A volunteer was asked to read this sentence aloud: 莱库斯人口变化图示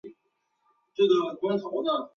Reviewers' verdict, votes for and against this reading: accepted, 2, 1